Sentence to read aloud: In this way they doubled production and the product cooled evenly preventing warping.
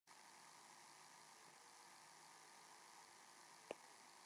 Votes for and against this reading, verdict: 0, 2, rejected